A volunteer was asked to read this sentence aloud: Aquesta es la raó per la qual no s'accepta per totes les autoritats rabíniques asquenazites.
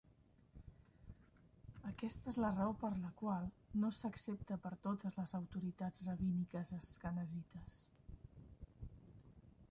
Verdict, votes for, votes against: accepted, 2, 1